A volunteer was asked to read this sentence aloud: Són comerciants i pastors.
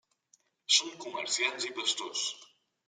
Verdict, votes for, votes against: rejected, 0, 2